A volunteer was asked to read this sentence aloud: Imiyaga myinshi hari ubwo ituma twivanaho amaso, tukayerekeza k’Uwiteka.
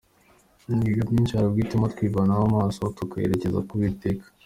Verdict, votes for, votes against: accepted, 2, 0